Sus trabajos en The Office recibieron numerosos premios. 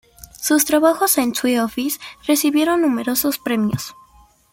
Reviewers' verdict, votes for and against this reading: accepted, 2, 1